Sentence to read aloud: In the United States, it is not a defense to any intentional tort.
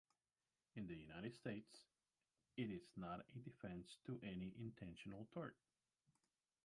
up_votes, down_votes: 1, 2